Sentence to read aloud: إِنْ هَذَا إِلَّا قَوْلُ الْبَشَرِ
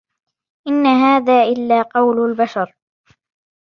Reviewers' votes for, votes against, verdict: 0, 2, rejected